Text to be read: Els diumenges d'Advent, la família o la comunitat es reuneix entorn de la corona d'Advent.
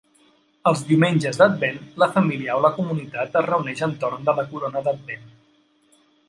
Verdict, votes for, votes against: accepted, 3, 0